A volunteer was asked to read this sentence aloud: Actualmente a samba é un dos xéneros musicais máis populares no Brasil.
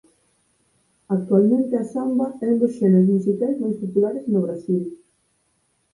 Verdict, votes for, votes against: accepted, 4, 0